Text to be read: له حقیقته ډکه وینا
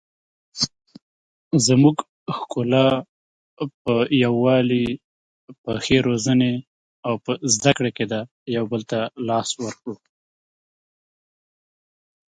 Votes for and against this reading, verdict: 1, 2, rejected